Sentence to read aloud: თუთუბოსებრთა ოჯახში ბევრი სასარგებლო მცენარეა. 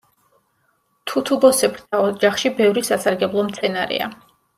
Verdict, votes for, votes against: accepted, 2, 0